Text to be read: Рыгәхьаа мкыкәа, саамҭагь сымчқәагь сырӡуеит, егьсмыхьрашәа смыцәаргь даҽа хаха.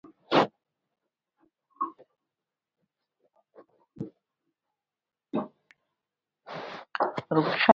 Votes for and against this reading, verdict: 1, 2, rejected